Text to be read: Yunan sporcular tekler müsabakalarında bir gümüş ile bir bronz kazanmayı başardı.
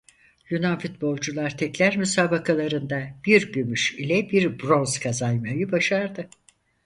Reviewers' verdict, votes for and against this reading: rejected, 0, 4